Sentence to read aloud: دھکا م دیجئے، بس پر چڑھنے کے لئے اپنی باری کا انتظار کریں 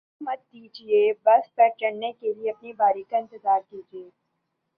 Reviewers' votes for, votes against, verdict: 1, 2, rejected